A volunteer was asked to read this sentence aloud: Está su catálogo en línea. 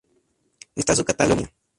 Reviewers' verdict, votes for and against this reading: rejected, 0, 2